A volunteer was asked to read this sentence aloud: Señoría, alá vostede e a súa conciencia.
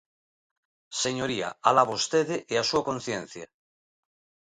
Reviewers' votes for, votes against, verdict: 2, 0, accepted